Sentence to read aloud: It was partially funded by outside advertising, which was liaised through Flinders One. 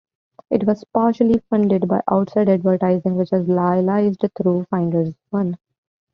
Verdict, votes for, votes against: accepted, 2, 0